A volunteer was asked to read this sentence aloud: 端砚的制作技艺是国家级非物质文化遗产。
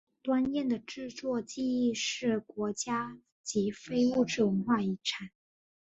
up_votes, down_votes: 2, 0